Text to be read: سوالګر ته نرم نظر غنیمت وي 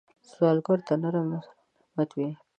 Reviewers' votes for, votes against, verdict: 1, 2, rejected